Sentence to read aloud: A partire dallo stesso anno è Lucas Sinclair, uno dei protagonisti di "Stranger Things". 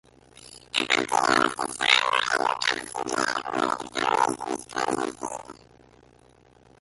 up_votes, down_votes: 0, 2